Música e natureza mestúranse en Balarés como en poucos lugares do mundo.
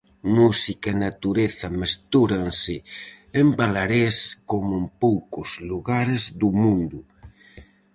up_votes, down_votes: 4, 0